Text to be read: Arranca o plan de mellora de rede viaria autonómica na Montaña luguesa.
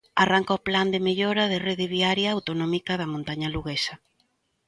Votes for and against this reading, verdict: 1, 2, rejected